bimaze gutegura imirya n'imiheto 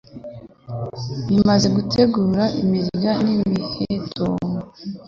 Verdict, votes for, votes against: accepted, 3, 0